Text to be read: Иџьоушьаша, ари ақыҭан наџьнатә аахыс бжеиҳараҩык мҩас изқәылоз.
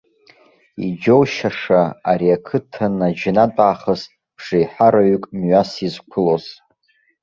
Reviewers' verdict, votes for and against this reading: accepted, 2, 0